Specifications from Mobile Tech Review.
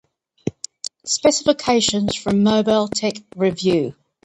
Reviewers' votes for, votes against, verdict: 2, 0, accepted